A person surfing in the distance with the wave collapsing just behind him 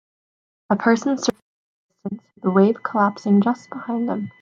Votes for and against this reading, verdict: 0, 2, rejected